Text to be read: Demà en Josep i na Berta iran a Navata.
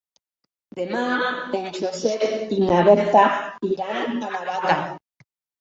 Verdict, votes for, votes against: rejected, 1, 2